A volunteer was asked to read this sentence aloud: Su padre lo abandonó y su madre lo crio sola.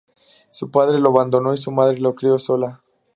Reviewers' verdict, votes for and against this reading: accepted, 2, 0